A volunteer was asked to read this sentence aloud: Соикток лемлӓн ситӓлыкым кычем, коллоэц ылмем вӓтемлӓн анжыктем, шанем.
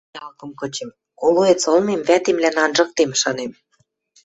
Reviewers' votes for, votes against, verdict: 0, 2, rejected